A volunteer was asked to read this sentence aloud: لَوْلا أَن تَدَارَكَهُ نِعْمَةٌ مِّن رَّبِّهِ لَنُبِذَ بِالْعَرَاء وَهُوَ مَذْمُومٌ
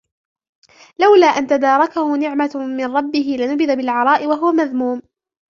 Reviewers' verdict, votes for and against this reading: rejected, 1, 2